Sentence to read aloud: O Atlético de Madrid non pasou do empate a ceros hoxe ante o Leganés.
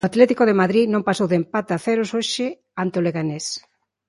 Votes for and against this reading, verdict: 1, 2, rejected